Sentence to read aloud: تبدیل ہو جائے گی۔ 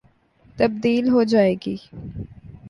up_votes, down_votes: 2, 0